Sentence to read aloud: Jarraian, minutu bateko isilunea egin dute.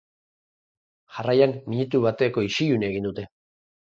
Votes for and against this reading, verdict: 4, 0, accepted